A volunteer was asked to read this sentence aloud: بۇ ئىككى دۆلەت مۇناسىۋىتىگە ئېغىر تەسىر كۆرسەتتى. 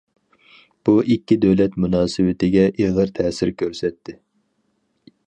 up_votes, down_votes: 4, 0